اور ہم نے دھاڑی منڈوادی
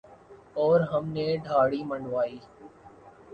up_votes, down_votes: 2, 1